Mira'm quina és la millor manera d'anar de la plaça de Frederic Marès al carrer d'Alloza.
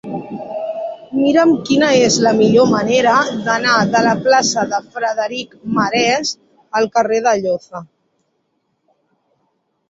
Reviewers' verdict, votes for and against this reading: rejected, 1, 2